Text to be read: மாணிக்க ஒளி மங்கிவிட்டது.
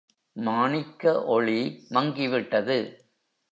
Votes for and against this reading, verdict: 3, 0, accepted